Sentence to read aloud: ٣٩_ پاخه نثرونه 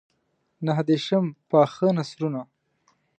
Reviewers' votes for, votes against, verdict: 0, 2, rejected